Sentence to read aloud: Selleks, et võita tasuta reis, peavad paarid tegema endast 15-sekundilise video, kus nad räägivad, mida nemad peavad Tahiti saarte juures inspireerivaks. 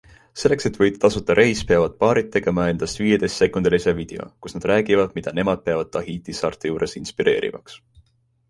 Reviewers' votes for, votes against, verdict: 0, 2, rejected